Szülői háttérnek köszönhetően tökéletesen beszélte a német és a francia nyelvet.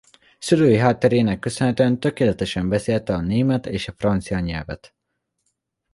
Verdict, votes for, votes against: rejected, 1, 2